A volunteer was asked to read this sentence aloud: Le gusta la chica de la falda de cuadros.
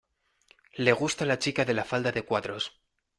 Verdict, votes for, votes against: accepted, 2, 0